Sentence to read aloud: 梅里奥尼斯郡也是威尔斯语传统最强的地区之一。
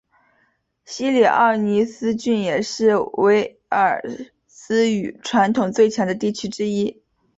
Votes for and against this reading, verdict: 0, 2, rejected